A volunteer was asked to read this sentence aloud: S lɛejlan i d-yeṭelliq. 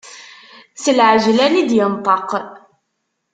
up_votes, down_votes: 1, 2